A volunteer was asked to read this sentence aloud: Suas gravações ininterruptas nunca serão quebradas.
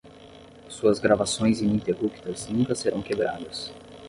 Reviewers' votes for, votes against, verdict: 5, 10, rejected